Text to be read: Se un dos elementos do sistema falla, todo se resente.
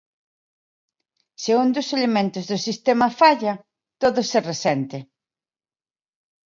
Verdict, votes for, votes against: rejected, 1, 2